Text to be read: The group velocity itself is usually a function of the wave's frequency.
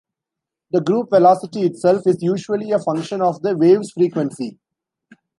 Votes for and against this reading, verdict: 2, 0, accepted